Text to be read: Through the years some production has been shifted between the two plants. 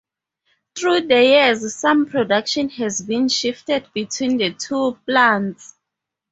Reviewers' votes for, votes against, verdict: 0, 2, rejected